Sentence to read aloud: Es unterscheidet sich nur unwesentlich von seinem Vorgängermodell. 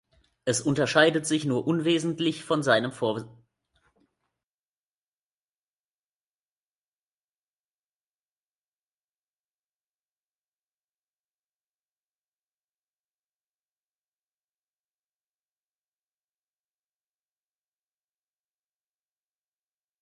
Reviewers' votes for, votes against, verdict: 0, 2, rejected